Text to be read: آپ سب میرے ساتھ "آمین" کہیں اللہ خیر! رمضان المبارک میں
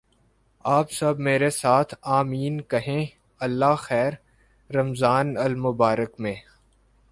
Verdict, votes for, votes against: accepted, 2, 0